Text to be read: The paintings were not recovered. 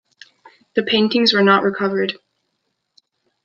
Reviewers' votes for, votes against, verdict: 2, 0, accepted